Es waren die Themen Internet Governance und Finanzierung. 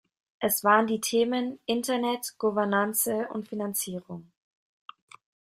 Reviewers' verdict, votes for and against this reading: rejected, 0, 2